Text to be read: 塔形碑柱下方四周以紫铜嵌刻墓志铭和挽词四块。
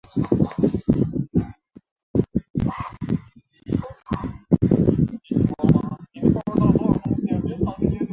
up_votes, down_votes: 0, 2